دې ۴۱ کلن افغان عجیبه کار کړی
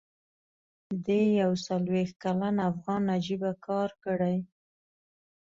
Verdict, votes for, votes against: rejected, 0, 2